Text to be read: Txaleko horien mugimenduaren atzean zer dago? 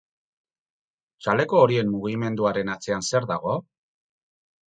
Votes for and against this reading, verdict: 2, 0, accepted